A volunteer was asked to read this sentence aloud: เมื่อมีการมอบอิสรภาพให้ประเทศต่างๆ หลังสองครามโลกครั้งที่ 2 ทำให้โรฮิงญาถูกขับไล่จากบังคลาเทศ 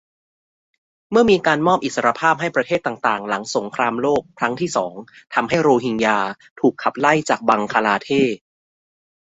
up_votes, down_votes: 0, 2